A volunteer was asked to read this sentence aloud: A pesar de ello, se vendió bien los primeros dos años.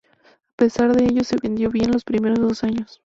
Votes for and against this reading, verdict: 2, 0, accepted